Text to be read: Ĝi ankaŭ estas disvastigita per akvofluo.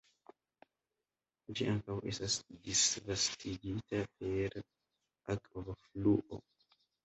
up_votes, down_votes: 1, 2